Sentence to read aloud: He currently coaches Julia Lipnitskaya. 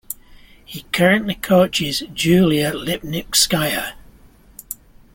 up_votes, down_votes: 2, 0